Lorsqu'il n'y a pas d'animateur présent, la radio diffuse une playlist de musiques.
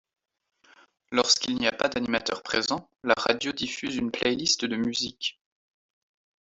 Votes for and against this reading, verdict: 2, 0, accepted